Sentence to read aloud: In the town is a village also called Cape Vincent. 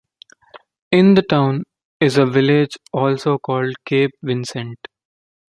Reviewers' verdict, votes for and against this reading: accepted, 2, 0